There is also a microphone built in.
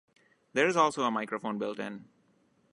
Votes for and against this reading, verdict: 2, 0, accepted